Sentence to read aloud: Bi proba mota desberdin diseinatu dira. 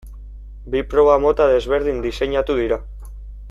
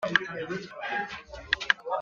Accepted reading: first